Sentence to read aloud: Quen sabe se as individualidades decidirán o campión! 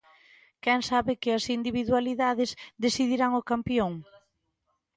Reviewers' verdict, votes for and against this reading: rejected, 0, 2